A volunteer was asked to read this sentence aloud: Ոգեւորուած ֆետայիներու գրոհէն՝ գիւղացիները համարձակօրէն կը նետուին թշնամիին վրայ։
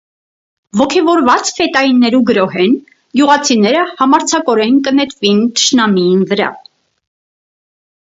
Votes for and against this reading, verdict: 4, 0, accepted